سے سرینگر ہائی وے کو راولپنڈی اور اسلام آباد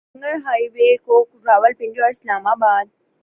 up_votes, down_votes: 0, 2